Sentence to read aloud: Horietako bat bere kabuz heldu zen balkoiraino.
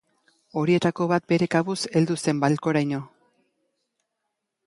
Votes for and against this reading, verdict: 0, 2, rejected